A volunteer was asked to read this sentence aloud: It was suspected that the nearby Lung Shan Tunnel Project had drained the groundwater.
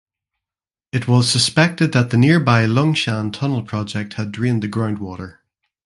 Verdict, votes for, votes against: accepted, 2, 0